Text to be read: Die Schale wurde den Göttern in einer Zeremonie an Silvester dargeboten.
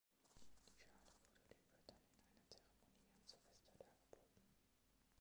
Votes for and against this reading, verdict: 0, 2, rejected